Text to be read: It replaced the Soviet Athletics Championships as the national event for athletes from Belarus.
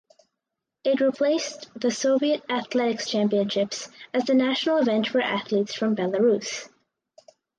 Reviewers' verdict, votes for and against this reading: accepted, 2, 0